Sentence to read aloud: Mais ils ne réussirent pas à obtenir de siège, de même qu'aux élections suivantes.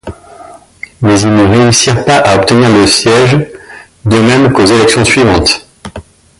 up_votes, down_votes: 1, 2